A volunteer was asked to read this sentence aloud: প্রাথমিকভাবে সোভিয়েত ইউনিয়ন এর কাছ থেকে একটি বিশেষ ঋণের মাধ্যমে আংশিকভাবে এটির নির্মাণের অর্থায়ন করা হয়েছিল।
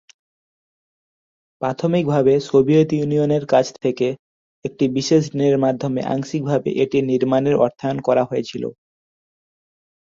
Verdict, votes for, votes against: rejected, 1, 2